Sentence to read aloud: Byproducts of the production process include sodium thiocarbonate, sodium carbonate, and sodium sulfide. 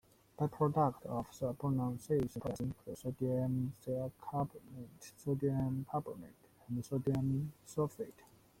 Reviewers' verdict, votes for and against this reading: rejected, 0, 2